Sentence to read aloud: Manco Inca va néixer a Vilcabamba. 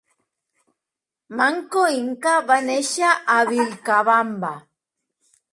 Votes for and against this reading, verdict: 4, 1, accepted